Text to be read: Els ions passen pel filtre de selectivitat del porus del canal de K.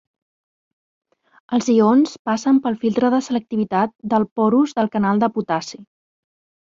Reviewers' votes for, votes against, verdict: 1, 2, rejected